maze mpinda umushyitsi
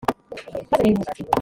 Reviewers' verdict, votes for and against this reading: rejected, 0, 2